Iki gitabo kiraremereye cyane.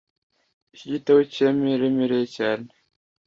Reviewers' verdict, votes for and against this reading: rejected, 1, 2